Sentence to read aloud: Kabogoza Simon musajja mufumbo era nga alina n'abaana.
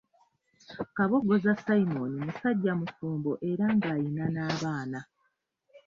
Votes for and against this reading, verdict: 2, 0, accepted